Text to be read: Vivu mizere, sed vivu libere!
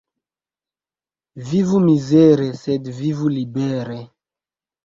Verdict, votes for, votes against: accepted, 2, 0